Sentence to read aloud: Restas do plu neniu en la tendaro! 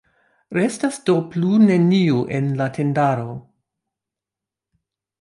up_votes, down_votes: 2, 0